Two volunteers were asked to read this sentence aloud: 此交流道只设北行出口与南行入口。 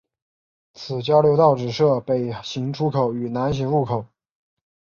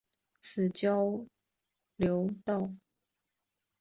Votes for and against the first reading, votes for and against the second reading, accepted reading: 3, 0, 0, 2, first